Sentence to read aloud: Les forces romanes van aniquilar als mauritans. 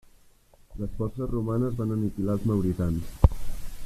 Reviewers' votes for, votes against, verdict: 1, 2, rejected